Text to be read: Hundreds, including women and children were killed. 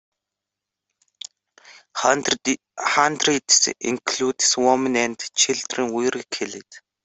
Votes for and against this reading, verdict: 1, 2, rejected